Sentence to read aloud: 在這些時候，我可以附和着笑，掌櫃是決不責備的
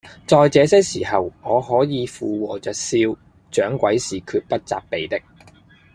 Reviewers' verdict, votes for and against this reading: accepted, 2, 0